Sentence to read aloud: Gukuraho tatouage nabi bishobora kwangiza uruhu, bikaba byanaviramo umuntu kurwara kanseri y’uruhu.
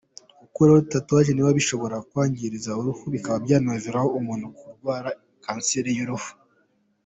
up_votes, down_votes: 2, 0